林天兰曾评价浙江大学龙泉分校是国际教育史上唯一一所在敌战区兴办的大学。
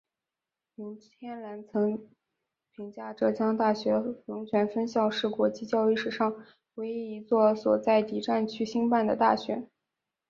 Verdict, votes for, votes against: accepted, 5, 0